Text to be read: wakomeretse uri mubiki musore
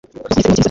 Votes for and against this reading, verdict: 0, 2, rejected